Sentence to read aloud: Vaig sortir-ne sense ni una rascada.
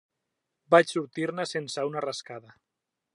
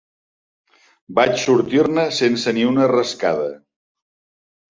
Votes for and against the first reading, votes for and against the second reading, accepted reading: 0, 2, 4, 0, second